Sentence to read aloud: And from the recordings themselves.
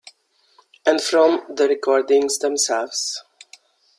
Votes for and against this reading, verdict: 1, 2, rejected